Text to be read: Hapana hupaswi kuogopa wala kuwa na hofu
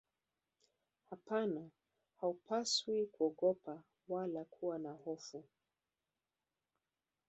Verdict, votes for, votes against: rejected, 1, 2